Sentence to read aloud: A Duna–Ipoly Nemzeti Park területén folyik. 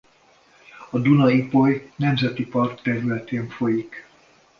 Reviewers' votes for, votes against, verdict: 2, 0, accepted